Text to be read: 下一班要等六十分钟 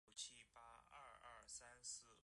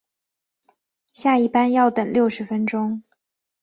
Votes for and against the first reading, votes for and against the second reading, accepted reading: 0, 2, 2, 0, second